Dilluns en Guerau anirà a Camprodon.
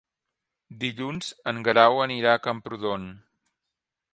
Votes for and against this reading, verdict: 4, 0, accepted